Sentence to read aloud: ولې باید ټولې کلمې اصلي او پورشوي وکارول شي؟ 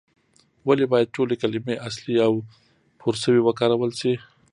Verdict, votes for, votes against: accepted, 2, 0